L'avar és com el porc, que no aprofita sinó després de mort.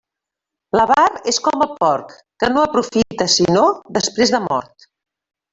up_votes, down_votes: 0, 2